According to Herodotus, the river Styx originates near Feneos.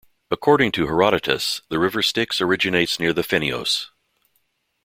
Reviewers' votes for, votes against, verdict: 0, 2, rejected